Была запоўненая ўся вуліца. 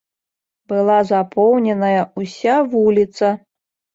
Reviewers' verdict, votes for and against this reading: rejected, 1, 2